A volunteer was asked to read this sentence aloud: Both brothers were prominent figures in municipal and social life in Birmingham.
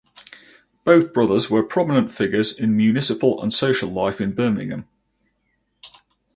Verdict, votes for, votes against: rejected, 2, 2